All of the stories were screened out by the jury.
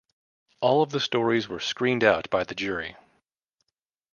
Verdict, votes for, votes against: accepted, 2, 0